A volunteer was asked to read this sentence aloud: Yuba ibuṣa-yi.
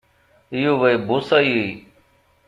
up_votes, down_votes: 2, 0